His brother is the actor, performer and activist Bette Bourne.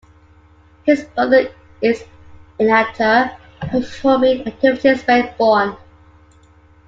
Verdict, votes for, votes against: rejected, 1, 2